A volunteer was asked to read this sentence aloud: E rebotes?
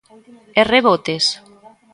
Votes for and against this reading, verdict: 1, 2, rejected